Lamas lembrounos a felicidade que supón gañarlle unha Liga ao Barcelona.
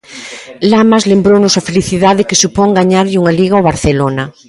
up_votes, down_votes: 1, 2